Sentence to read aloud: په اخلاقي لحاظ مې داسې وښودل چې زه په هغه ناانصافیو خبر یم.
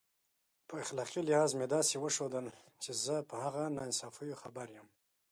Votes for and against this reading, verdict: 2, 0, accepted